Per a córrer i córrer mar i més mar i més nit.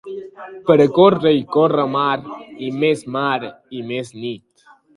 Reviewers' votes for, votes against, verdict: 2, 0, accepted